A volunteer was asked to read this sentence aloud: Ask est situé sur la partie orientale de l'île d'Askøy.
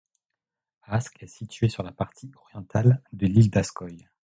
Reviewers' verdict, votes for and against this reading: accepted, 2, 0